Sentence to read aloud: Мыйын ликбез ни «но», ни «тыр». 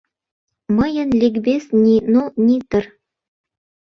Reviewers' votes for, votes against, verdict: 2, 0, accepted